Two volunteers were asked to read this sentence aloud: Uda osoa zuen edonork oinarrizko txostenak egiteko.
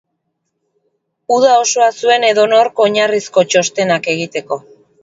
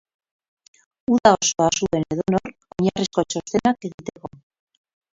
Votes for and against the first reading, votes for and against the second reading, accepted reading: 2, 0, 0, 2, first